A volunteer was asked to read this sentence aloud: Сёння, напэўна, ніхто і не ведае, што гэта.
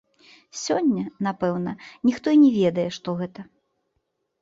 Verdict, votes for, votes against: accepted, 2, 0